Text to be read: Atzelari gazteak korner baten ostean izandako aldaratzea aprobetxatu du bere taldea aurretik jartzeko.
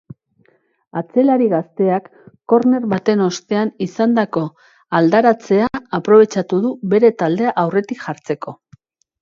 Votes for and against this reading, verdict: 2, 0, accepted